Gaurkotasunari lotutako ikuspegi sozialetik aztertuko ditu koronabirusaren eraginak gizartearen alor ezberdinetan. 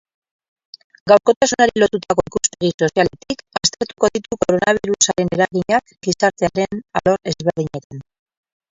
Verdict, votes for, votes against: rejected, 2, 6